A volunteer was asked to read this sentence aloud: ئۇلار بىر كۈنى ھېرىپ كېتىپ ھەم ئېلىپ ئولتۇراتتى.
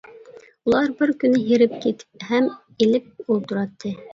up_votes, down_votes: 2, 0